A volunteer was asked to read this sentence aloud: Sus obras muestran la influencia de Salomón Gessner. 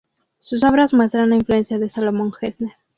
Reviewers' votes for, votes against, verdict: 2, 0, accepted